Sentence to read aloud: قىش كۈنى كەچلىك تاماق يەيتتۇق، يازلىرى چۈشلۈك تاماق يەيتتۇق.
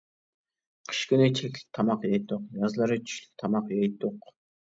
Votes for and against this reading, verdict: 0, 2, rejected